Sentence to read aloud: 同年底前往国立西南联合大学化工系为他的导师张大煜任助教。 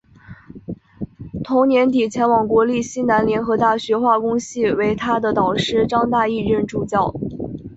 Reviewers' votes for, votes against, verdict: 1, 2, rejected